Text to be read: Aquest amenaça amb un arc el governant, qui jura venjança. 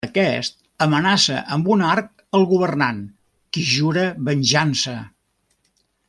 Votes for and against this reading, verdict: 1, 2, rejected